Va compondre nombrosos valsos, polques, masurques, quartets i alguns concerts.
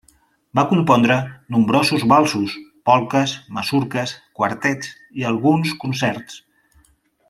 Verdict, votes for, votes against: accepted, 2, 1